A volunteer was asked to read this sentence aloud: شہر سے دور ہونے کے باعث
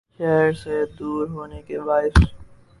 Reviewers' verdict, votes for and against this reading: rejected, 0, 2